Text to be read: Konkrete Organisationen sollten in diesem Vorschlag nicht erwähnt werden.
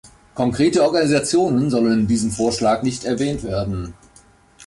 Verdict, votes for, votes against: rejected, 1, 2